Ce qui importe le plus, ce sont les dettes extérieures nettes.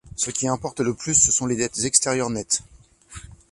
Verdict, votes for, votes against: accepted, 2, 0